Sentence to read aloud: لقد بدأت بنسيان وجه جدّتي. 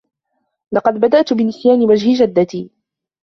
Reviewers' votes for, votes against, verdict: 1, 2, rejected